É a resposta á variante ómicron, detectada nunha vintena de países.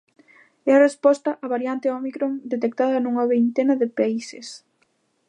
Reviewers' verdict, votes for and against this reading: rejected, 1, 2